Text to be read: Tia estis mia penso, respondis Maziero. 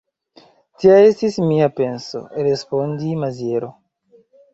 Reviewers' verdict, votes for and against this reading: rejected, 1, 2